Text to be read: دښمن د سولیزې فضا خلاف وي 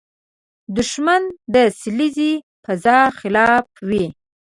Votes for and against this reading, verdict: 0, 2, rejected